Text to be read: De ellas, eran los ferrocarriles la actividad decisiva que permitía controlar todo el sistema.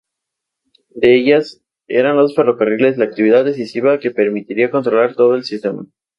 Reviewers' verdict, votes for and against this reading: rejected, 2, 2